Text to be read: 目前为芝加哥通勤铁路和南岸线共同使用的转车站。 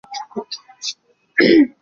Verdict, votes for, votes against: rejected, 1, 2